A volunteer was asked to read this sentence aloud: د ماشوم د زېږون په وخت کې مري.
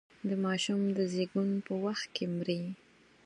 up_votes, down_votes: 4, 0